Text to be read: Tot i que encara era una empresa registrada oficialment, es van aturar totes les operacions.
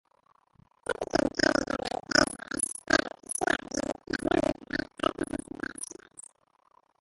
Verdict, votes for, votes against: rejected, 0, 4